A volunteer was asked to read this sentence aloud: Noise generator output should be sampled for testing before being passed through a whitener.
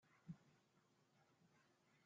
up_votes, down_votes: 0, 2